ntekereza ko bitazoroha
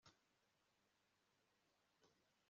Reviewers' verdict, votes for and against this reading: rejected, 0, 3